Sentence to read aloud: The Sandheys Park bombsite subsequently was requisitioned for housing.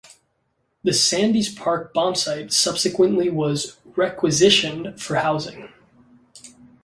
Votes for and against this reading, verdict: 2, 0, accepted